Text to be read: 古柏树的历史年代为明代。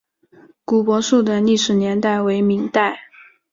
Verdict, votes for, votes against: accepted, 5, 0